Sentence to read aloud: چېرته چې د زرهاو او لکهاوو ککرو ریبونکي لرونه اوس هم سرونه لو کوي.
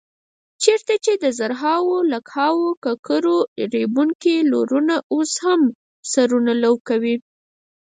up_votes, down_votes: 2, 4